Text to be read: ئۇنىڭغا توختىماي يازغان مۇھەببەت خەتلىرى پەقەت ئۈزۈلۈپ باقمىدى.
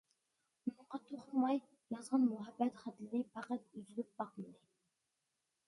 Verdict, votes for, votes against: rejected, 1, 2